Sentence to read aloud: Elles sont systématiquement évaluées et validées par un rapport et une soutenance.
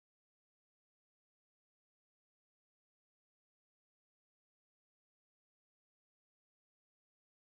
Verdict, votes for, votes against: rejected, 0, 2